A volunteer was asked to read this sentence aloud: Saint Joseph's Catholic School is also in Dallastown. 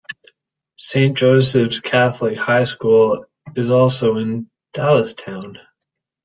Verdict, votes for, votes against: rejected, 0, 2